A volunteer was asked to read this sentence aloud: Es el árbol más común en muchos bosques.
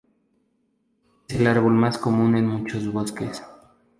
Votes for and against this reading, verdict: 2, 2, rejected